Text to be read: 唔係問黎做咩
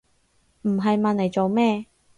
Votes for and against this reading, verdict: 2, 2, rejected